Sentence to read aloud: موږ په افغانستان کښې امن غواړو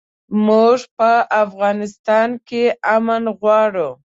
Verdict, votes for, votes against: rejected, 0, 2